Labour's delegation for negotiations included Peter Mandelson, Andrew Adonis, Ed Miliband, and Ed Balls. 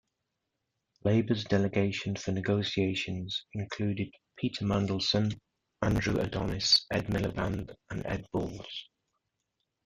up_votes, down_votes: 2, 0